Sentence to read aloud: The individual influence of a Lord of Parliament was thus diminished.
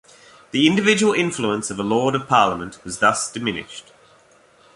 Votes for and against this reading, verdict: 2, 0, accepted